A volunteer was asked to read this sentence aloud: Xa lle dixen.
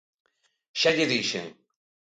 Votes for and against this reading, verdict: 2, 0, accepted